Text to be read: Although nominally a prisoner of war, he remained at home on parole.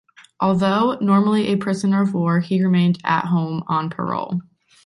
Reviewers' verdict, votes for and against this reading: rejected, 1, 2